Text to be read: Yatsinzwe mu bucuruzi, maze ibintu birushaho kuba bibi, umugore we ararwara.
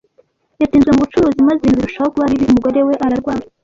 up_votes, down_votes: 0, 2